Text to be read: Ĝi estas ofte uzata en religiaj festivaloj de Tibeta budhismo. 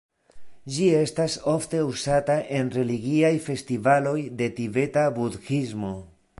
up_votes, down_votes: 0, 2